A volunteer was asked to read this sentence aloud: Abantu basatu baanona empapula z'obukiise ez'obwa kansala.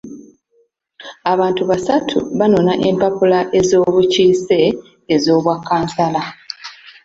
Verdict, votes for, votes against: rejected, 1, 2